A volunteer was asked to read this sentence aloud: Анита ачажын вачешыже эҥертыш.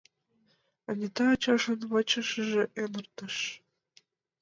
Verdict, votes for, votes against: rejected, 1, 2